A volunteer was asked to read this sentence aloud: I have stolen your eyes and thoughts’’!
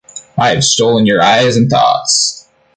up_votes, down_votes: 2, 0